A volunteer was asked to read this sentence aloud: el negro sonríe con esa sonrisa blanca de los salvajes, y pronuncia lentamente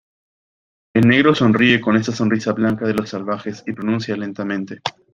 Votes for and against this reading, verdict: 2, 0, accepted